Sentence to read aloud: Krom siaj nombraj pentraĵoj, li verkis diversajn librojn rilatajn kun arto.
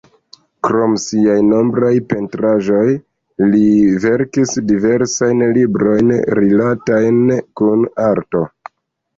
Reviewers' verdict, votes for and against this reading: accepted, 2, 0